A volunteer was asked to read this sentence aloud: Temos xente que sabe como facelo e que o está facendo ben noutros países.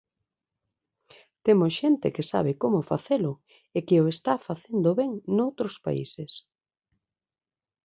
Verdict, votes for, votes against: accepted, 2, 1